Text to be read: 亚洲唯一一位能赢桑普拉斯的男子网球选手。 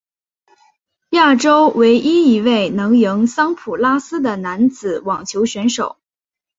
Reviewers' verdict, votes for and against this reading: accepted, 5, 0